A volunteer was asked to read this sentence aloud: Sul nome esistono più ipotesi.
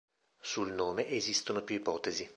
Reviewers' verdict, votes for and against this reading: accepted, 2, 0